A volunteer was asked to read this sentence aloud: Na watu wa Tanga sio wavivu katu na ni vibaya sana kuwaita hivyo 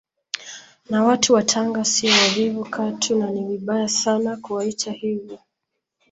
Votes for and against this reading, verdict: 2, 0, accepted